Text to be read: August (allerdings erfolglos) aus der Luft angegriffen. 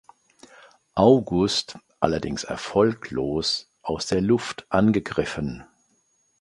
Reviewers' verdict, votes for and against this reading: accepted, 2, 0